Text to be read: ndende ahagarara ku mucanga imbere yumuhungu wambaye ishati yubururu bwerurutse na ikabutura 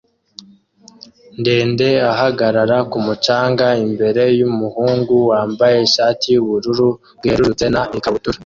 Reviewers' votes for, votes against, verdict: 2, 0, accepted